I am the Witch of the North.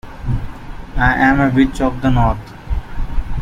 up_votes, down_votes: 0, 2